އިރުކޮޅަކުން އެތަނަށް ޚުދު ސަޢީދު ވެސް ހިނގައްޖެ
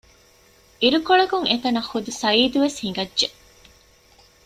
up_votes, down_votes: 2, 0